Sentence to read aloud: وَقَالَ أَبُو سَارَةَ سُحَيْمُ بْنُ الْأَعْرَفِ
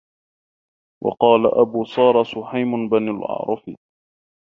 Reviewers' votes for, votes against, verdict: 1, 2, rejected